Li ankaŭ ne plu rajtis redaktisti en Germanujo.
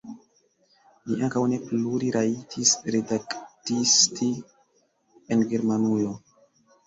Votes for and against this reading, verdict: 0, 2, rejected